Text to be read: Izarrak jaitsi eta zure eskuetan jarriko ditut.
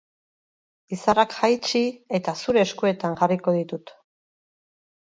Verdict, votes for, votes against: rejected, 2, 2